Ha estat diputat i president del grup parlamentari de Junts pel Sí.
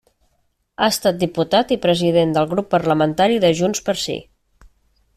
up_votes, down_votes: 1, 2